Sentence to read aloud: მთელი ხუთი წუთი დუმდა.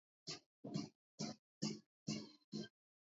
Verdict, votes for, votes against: rejected, 0, 2